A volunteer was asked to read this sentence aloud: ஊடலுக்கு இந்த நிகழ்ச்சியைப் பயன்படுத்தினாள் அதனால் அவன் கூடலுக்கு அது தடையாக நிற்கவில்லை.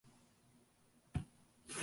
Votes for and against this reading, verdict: 0, 2, rejected